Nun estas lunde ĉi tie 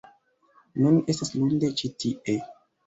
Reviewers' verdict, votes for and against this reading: rejected, 1, 2